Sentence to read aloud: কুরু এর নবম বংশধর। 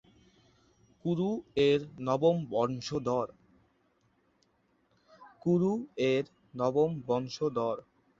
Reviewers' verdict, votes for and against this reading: rejected, 1, 3